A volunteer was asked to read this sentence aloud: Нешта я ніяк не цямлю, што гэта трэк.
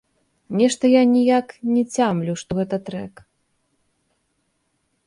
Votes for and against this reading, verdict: 2, 0, accepted